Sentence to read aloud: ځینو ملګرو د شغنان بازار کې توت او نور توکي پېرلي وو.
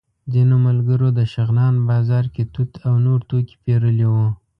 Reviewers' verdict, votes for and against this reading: accepted, 2, 0